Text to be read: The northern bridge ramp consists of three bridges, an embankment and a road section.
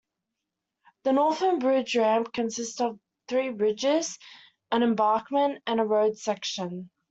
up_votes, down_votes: 2, 1